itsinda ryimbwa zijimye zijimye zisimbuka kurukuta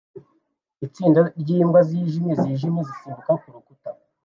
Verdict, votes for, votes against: accepted, 2, 0